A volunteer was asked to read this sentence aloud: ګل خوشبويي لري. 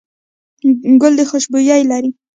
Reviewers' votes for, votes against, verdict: 1, 2, rejected